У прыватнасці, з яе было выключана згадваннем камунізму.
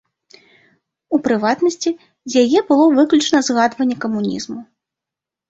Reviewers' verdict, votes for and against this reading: rejected, 1, 2